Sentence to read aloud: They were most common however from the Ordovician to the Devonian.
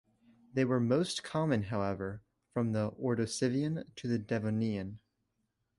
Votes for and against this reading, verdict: 1, 2, rejected